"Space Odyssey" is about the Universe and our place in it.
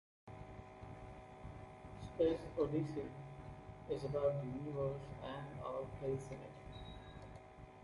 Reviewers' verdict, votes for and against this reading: rejected, 0, 2